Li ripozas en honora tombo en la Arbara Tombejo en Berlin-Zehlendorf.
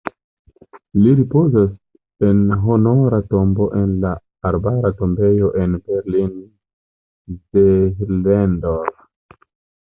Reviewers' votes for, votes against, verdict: 0, 2, rejected